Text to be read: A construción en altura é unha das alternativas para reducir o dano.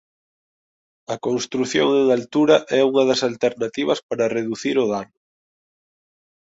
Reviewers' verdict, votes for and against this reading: accepted, 3, 1